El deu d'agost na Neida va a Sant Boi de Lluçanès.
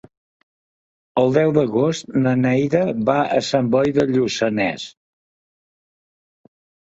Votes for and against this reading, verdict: 2, 0, accepted